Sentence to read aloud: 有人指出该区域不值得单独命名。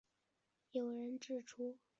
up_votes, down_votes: 1, 6